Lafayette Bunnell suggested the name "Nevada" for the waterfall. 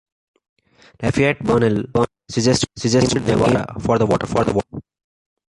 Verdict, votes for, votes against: rejected, 0, 2